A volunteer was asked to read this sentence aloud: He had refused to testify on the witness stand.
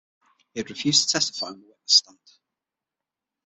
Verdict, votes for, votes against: rejected, 0, 6